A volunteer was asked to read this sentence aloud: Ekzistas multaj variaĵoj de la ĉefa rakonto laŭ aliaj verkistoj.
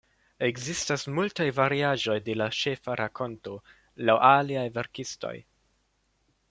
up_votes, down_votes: 1, 2